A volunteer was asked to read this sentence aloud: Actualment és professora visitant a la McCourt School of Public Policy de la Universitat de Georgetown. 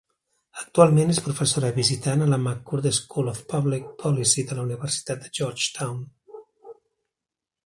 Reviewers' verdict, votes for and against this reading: rejected, 1, 2